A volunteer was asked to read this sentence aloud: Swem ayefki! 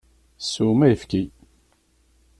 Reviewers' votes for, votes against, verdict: 2, 0, accepted